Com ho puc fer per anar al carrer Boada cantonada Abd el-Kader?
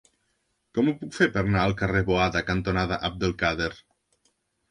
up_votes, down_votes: 0, 2